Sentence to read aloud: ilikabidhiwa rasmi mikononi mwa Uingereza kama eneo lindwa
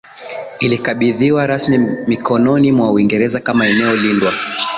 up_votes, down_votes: 0, 2